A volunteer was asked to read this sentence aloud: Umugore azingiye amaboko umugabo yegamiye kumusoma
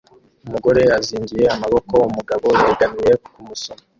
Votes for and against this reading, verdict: 2, 1, accepted